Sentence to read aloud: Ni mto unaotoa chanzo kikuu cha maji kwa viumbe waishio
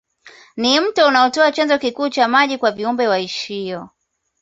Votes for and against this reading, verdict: 2, 0, accepted